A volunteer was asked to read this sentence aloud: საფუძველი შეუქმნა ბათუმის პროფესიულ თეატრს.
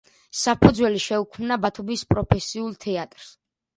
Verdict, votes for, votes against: accepted, 2, 0